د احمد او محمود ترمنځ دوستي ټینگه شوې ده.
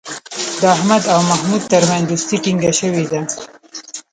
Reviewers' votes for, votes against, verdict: 0, 2, rejected